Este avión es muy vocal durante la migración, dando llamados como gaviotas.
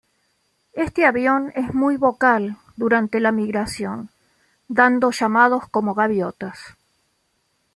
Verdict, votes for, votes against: accepted, 2, 0